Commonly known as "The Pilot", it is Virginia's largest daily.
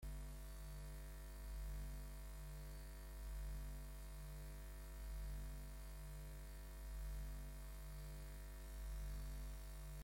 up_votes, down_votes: 0, 2